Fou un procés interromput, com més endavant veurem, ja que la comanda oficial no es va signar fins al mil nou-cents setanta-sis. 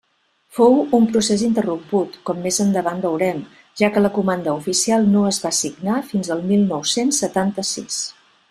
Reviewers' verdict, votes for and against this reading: accepted, 2, 0